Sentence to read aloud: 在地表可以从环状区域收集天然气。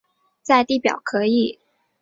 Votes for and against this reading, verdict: 1, 4, rejected